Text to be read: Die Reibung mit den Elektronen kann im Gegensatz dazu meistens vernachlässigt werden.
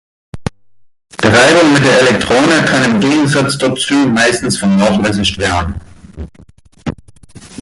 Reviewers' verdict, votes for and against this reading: rejected, 0, 2